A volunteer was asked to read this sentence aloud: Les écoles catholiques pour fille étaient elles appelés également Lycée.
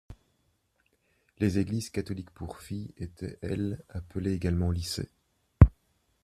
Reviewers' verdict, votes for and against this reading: rejected, 1, 2